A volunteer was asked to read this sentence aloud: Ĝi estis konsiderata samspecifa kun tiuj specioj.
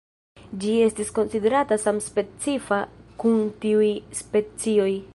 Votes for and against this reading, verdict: 1, 2, rejected